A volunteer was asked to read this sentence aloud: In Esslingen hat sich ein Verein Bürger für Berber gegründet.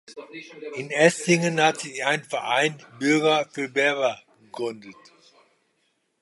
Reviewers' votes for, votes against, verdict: 1, 2, rejected